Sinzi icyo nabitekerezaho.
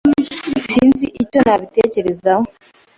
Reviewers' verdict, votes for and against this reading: accepted, 2, 0